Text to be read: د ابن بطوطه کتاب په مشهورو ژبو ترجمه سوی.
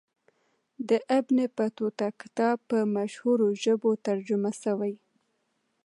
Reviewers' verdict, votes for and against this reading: accepted, 2, 0